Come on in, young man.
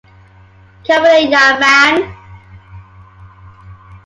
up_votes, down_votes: 2, 0